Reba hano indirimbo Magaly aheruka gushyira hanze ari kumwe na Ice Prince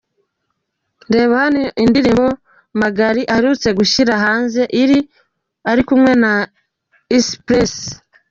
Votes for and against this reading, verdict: 1, 2, rejected